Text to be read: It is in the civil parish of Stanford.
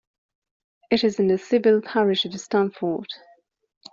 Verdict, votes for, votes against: accepted, 2, 0